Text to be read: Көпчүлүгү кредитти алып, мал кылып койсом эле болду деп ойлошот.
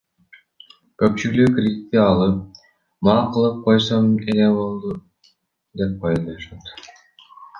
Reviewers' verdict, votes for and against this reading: rejected, 1, 2